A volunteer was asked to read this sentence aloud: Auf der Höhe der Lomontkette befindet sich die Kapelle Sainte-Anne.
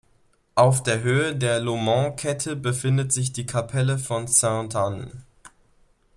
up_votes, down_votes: 0, 2